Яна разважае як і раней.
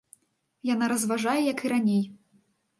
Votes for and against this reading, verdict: 2, 0, accepted